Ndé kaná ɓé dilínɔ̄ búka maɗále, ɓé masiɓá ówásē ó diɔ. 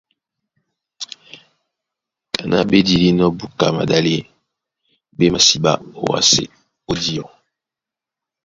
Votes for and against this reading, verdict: 1, 2, rejected